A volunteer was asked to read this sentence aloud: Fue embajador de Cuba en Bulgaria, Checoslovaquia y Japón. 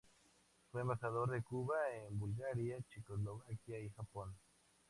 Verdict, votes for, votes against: accepted, 4, 2